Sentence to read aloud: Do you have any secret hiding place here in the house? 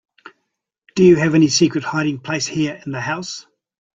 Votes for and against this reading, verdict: 2, 0, accepted